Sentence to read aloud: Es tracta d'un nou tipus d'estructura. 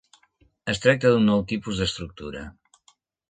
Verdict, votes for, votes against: accepted, 2, 0